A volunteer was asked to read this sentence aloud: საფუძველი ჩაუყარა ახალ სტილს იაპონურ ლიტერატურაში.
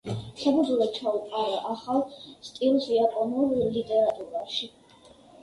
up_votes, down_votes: 2, 0